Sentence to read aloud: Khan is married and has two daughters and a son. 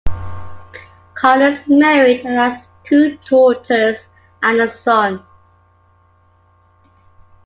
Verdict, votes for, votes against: accepted, 2, 0